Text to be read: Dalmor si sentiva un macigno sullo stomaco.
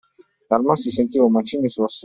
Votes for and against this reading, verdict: 2, 0, accepted